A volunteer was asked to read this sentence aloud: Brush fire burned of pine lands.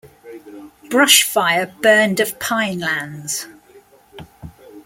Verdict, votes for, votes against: accepted, 2, 0